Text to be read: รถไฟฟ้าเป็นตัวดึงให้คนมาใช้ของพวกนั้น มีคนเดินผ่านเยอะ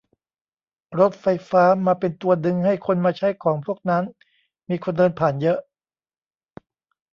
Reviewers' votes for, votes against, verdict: 0, 2, rejected